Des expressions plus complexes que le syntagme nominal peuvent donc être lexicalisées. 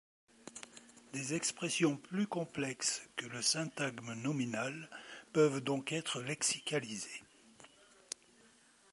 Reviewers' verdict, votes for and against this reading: rejected, 1, 2